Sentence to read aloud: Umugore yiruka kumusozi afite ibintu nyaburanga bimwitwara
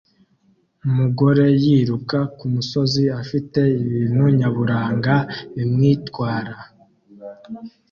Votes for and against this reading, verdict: 2, 0, accepted